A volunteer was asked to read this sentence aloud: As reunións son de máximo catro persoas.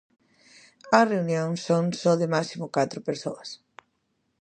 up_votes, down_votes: 0, 2